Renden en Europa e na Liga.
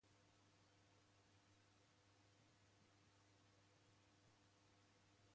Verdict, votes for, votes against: rejected, 0, 2